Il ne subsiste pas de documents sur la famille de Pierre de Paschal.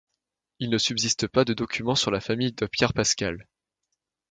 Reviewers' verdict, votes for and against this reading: rejected, 1, 2